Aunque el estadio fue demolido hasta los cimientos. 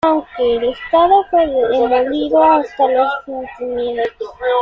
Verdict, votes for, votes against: rejected, 0, 2